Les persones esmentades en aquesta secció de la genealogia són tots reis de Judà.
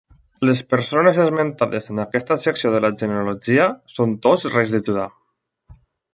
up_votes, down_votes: 2, 0